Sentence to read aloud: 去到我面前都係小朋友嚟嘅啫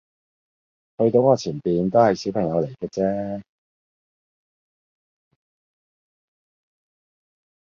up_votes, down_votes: 1, 2